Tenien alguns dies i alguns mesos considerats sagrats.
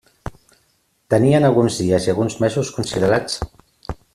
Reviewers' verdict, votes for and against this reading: rejected, 0, 2